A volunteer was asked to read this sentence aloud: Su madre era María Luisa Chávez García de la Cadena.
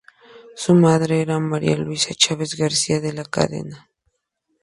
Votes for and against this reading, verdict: 2, 0, accepted